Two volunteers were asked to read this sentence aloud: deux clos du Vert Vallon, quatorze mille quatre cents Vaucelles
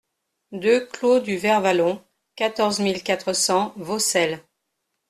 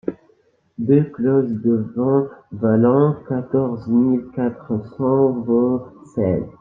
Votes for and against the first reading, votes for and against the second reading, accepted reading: 2, 0, 1, 2, first